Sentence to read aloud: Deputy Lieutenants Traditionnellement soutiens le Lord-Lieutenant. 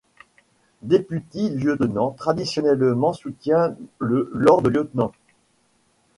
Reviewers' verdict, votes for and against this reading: rejected, 1, 2